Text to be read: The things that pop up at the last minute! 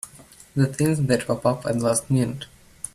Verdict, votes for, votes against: rejected, 0, 3